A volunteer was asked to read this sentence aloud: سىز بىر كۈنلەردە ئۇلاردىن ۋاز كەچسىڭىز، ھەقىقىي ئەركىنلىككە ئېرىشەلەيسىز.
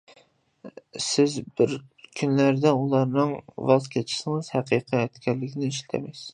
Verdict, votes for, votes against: rejected, 0, 2